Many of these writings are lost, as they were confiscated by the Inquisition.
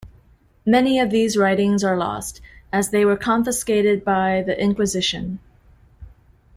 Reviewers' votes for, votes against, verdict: 2, 0, accepted